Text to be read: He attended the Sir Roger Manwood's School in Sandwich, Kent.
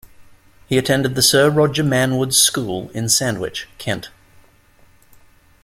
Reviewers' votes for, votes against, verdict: 2, 0, accepted